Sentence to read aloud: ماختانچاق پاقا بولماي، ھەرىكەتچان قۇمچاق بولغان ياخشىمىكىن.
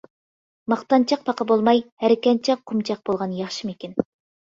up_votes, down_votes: 1, 2